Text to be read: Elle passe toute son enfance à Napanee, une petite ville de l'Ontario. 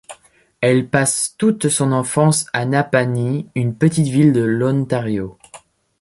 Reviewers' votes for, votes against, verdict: 1, 2, rejected